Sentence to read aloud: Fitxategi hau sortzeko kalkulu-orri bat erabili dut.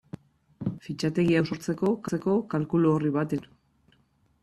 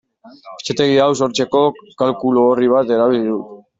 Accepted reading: second